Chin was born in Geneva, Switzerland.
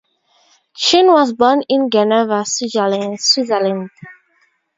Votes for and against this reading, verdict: 2, 0, accepted